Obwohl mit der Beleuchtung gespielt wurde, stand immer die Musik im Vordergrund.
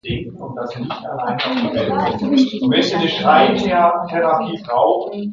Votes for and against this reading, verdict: 0, 2, rejected